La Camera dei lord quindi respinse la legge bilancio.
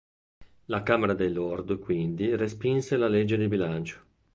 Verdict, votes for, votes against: rejected, 1, 2